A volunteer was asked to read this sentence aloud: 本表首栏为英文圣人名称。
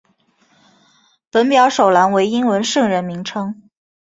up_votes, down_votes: 3, 0